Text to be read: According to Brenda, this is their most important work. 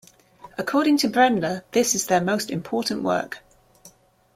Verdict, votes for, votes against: accepted, 2, 0